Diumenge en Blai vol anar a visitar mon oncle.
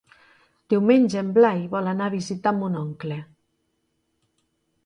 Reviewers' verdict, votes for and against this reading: accepted, 2, 0